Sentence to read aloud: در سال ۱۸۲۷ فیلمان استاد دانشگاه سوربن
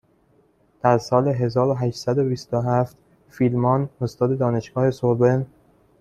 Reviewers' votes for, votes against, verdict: 0, 2, rejected